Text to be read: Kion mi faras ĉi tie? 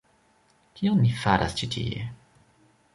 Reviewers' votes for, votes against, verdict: 1, 2, rejected